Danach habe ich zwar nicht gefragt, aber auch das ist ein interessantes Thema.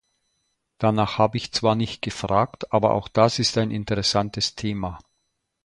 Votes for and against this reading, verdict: 2, 0, accepted